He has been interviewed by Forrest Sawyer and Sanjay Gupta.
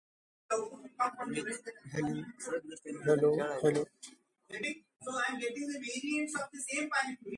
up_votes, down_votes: 0, 2